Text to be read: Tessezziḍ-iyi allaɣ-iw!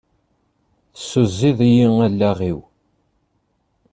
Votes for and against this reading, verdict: 1, 2, rejected